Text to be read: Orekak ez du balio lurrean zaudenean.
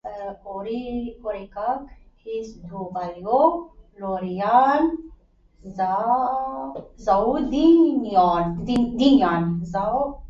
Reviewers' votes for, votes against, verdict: 0, 2, rejected